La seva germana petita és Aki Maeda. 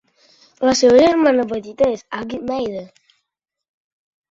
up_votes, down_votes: 1, 2